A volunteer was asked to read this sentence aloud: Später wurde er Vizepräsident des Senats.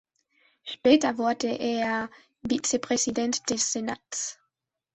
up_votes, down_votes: 2, 1